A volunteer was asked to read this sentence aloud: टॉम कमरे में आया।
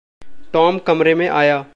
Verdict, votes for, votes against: accepted, 2, 0